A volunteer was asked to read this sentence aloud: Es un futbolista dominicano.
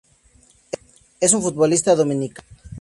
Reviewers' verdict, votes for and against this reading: rejected, 0, 2